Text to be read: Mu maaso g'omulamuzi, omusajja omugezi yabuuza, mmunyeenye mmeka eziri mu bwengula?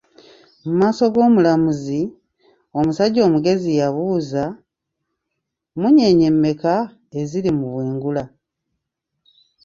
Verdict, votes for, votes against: rejected, 0, 2